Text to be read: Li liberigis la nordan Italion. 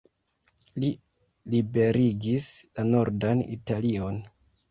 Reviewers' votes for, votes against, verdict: 2, 1, accepted